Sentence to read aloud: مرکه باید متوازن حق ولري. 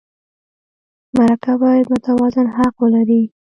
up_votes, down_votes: 1, 2